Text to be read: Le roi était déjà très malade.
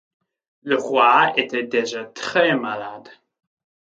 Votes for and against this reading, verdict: 2, 0, accepted